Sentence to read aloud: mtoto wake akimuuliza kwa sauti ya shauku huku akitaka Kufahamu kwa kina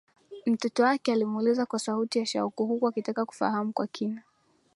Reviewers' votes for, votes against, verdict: 1, 2, rejected